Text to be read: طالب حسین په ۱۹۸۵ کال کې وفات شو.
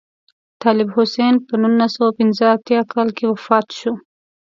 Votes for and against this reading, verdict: 0, 2, rejected